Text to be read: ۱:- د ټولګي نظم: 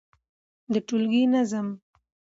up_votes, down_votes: 0, 2